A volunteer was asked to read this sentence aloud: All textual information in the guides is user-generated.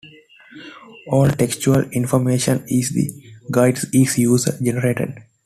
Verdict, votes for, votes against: rejected, 1, 2